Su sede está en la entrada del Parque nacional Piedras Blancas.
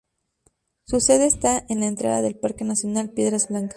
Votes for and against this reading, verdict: 0, 2, rejected